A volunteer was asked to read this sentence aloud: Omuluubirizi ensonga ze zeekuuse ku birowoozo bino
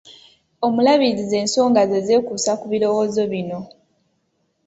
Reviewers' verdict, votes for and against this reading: rejected, 0, 2